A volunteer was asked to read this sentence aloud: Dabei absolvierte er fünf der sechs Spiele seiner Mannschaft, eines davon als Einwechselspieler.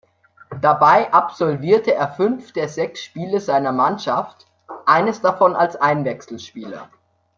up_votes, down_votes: 2, 0